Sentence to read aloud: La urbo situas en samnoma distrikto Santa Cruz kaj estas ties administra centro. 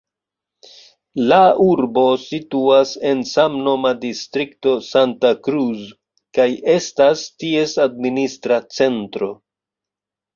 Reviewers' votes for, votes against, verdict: 1, 2, rejected